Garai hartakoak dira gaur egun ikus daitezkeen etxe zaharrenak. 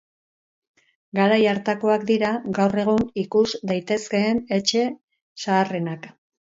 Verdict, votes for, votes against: rejected, 2, 2